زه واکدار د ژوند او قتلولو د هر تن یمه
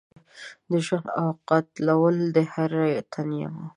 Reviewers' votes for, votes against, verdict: 1, 2, rejected